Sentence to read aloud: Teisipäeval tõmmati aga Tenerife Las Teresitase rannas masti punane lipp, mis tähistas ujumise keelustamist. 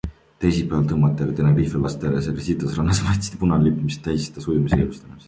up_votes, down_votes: 0, 2